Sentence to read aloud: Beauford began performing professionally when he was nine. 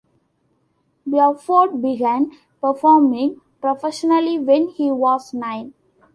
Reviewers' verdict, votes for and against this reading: accepted, 2, 0